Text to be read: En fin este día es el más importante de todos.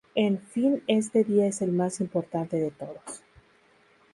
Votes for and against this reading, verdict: 2, 0, accepted